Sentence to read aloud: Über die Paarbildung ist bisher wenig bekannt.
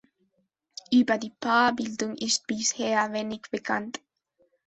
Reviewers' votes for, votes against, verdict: 2, 0, accepted